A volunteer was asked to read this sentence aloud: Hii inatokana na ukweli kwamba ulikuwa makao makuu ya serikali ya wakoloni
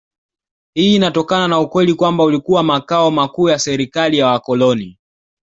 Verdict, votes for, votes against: accepted, 2, 0